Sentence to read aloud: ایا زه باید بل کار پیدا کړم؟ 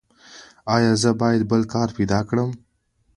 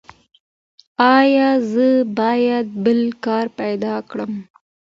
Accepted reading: first